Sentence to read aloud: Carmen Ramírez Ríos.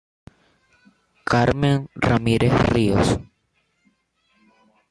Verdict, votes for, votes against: accepted, 2, 0